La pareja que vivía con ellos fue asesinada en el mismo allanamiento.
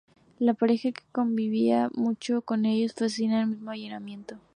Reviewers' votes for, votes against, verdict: 0, 2, rejected